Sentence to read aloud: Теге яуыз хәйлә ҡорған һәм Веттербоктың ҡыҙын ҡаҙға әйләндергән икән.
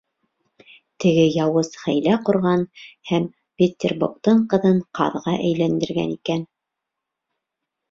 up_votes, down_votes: 3, 1